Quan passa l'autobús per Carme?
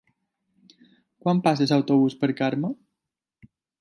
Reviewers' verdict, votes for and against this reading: rejected, 0, 2